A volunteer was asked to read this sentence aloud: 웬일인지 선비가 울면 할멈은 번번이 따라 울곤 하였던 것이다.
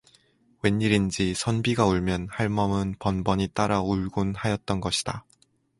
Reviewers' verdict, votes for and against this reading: accepted, 4, 0